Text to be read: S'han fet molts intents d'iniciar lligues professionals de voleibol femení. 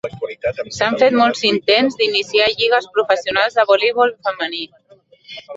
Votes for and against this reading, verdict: 0, 3, rejected